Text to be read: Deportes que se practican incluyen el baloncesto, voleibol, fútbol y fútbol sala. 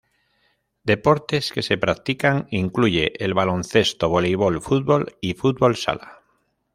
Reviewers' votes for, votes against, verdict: 0, 2, rejected